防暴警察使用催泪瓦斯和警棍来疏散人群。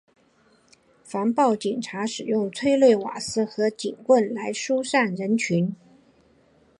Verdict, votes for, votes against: accepted, 6, 1